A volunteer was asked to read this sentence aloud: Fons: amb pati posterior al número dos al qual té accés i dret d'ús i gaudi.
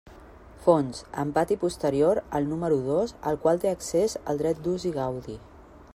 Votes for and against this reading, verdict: 0, 2, rejected